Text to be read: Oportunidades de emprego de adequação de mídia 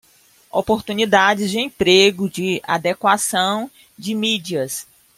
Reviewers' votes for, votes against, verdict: 0, 2, rejected